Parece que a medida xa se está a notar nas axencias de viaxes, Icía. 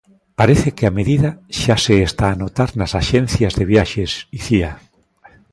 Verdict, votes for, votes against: accepted, 2, 0